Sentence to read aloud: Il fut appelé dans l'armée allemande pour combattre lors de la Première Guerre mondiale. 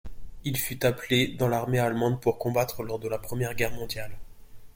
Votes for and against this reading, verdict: 2, 0, accepted